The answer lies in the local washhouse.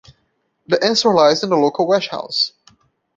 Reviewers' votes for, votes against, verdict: 0, 2, rejected